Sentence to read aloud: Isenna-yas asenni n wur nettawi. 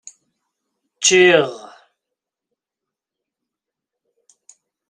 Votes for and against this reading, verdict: 0, 2, rejected